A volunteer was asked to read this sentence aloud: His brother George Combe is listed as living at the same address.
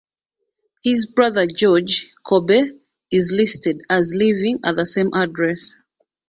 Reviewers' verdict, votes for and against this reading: rejected, 0, 2